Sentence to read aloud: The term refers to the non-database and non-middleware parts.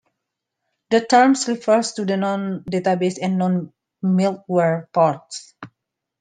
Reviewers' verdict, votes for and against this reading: rejected, 0, 2